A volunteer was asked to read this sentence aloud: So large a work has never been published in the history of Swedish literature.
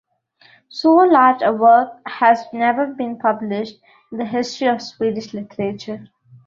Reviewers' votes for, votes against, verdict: 2, 0, accepted